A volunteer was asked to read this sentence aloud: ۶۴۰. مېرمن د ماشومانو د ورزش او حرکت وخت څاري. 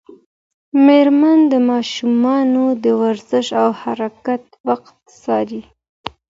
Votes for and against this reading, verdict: 0, 2, rejected